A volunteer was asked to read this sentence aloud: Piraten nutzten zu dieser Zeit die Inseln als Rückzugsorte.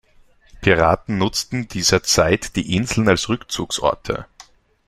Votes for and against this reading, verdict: 0, 2, rejected